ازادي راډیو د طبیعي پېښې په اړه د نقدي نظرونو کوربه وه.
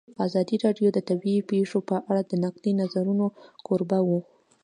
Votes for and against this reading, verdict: 1, 2, rejected